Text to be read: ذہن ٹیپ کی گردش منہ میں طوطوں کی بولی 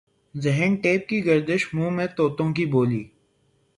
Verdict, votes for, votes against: accepted, 3, 0